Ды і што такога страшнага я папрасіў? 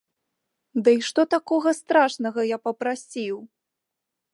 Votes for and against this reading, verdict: 2, 0, accepted